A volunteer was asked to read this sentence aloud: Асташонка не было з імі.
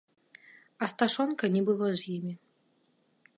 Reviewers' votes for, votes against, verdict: 2, 0, accepted